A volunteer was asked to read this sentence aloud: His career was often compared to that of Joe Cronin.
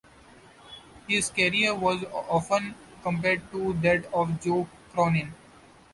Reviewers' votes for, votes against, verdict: 2, 1, accepted